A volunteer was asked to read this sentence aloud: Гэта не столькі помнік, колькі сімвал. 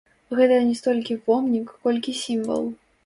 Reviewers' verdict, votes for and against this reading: rejected, 1, 2